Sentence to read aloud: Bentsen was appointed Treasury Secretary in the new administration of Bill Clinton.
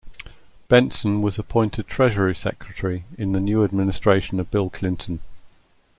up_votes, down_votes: 2, 0